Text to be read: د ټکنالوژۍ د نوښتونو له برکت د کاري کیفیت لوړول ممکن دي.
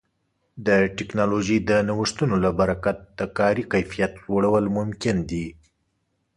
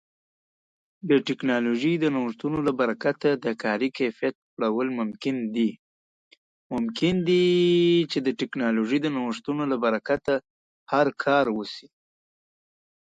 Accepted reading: first